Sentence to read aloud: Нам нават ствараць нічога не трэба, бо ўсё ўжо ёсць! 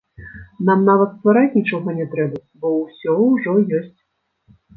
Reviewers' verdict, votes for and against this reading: rejected, 1, 2